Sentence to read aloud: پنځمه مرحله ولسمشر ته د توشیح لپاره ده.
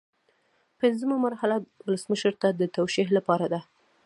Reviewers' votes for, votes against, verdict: 1, 2, rejected